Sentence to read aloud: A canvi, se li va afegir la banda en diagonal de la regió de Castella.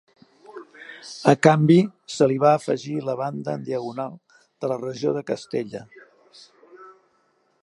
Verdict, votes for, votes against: rejected, 1, 2